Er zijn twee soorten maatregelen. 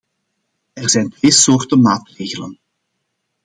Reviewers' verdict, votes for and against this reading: rejected, 1, 2